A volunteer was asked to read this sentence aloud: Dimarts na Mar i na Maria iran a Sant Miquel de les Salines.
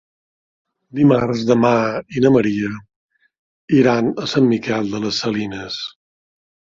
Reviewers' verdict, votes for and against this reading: rejected, 0, 2